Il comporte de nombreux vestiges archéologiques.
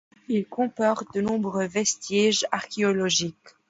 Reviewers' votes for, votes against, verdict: 2, 0, accepted